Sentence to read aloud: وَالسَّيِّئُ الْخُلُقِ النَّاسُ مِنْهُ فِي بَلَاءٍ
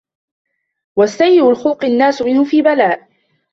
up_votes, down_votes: 1, 2